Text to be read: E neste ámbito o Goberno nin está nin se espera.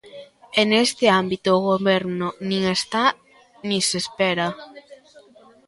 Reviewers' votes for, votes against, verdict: 0, 2, rejected